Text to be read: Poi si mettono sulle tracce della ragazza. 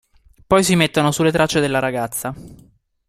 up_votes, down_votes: 2, 0